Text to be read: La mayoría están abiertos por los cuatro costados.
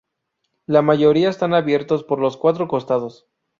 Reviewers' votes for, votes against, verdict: 2, 2, rejected